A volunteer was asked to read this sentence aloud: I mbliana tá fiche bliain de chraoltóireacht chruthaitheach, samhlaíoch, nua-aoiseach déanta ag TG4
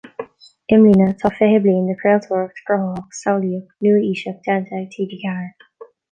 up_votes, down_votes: 0, 2